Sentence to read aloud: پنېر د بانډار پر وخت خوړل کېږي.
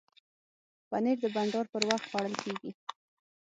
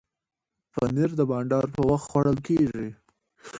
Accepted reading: second